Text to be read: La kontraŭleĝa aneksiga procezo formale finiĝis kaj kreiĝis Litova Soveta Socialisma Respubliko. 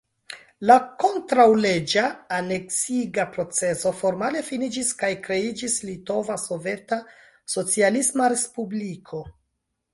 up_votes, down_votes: 1, 2